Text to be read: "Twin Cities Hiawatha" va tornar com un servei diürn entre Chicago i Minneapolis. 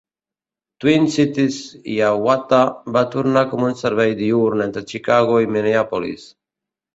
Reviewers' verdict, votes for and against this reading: accepted, 2, 0